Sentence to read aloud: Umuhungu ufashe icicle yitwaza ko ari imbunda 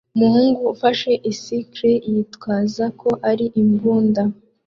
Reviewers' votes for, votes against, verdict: 2, 0, accepted